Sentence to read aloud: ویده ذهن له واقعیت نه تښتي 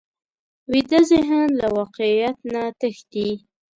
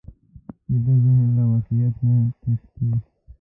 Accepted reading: first